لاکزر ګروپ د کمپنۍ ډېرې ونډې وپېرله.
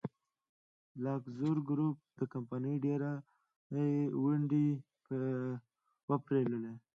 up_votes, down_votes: 1, 2